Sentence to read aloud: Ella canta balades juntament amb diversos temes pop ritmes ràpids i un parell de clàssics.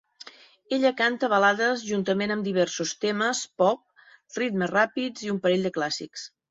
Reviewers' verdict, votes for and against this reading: accepted, 3, 0